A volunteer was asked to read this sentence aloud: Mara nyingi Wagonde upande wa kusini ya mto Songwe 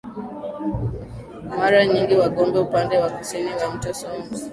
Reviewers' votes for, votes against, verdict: 2, 0, accepted